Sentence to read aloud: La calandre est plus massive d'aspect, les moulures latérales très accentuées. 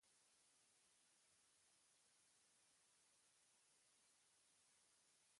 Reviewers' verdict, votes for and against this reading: rejected, 0, 2